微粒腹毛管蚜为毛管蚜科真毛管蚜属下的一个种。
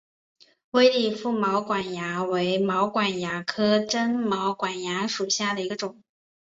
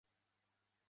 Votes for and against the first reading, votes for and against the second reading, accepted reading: 2, 0, 0, 5, first